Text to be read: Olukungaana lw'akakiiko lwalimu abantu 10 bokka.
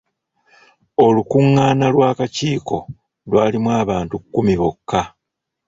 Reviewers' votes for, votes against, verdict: 0, 2, rejected